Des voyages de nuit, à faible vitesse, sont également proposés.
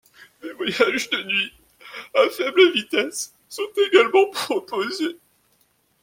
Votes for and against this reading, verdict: 0, 2, rejected